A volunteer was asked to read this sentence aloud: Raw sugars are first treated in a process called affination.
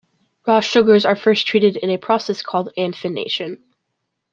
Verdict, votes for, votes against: rejected, 0, 2